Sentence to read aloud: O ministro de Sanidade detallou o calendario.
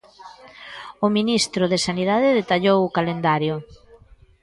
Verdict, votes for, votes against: accepted, 2, 0